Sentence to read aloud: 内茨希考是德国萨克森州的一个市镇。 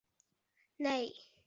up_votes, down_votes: 0, 2